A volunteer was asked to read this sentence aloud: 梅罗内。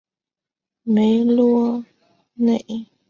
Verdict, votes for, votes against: accepted, 5, 0